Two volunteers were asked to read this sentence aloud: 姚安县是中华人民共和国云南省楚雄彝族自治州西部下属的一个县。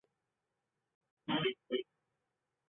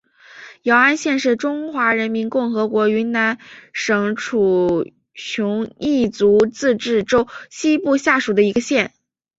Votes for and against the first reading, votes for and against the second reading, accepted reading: 0, 3, 2, 0, second